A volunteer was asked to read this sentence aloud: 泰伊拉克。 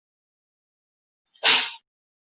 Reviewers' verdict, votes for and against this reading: rejected, 0, 3